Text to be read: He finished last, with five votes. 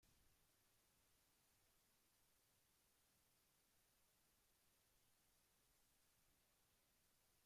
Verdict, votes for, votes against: rejected, 0, 2